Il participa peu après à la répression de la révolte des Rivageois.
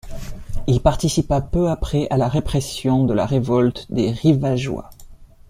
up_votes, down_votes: 2, 0